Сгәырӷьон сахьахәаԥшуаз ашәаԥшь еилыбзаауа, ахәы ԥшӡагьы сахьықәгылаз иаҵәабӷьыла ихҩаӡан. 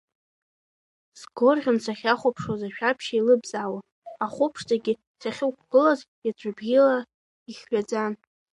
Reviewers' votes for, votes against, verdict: 0, 2, rejected